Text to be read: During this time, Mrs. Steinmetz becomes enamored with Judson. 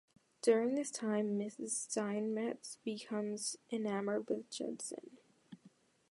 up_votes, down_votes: 2, 0